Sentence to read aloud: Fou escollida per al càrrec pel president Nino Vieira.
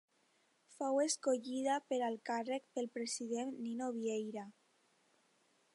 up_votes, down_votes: 2, 0